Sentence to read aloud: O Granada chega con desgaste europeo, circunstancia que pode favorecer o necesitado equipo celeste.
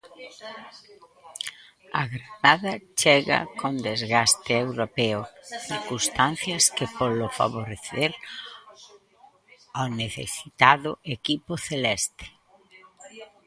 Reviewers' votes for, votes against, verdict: 0, 2, rejected